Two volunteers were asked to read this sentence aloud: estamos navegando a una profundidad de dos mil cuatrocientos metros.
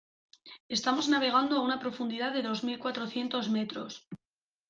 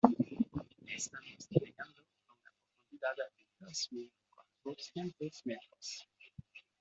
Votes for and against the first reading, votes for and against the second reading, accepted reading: 2, 0, 0, 2, first